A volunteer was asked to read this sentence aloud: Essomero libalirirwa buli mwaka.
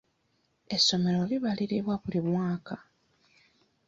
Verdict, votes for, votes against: rejected, 0, 2